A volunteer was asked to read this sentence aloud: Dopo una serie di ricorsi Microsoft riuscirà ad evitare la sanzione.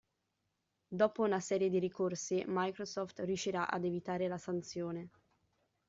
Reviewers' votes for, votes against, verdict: 2, 0, accepted